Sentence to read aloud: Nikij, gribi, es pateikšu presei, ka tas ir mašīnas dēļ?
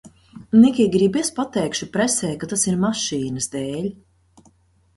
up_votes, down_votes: 2, 0